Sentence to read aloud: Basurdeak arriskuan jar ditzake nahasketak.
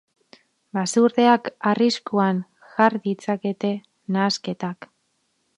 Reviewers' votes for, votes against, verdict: 2, 4, rejected